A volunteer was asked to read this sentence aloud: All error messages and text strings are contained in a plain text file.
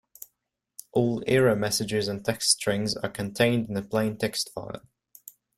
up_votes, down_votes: 2, 0